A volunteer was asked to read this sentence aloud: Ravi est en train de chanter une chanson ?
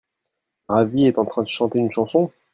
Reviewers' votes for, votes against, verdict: 1, 2, rejected